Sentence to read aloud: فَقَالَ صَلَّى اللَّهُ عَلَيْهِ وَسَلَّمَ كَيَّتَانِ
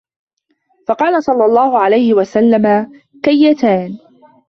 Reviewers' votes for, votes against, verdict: 2, 0, accepted